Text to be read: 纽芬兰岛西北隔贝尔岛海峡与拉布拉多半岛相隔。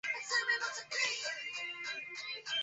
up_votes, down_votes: 1, 4